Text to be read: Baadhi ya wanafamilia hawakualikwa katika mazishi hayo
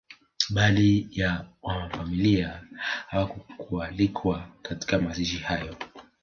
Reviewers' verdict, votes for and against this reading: rejected, 1, 2